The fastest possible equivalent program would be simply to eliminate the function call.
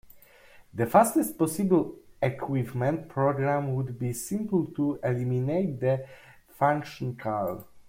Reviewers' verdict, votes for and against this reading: rejected, 0, 2